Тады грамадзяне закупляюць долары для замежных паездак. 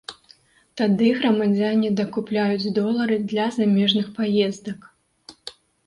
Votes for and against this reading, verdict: 0, 2, rejected